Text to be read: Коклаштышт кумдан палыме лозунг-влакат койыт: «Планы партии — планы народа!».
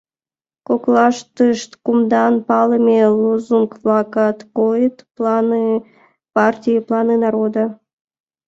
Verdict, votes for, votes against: accepted, 2, 1